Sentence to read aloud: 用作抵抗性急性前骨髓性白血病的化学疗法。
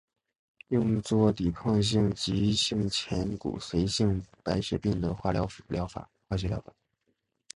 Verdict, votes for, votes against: rejected, 0, 2